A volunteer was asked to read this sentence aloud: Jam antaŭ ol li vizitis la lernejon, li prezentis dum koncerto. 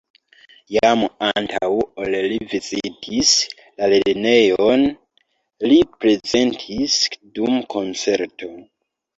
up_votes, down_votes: 1, 2